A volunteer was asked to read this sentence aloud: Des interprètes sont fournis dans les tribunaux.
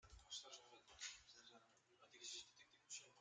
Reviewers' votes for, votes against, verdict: 0, 2, rejected